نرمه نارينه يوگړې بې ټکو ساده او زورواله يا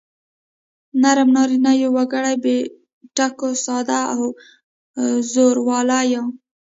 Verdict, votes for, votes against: rejected, 1, 2